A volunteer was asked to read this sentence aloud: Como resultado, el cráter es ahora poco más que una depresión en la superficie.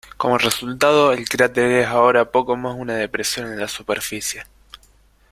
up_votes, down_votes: 0, 2